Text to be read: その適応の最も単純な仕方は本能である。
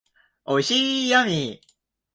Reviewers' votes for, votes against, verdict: 1, 11, rejected